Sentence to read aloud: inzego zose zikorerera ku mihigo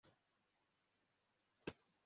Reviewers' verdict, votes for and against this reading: rejected, 0, 2